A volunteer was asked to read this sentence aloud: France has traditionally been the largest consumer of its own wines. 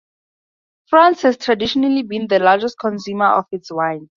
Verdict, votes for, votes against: rejected, 0, 4